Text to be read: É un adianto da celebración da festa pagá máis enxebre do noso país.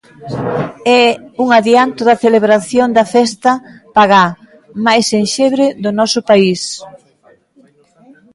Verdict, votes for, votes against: rejected, 1, 2